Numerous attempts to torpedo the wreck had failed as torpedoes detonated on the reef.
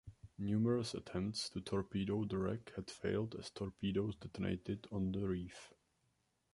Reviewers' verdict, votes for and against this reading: accepted, 2, 1